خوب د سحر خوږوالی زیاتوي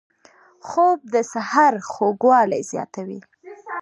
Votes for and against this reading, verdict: 2, 0, accepted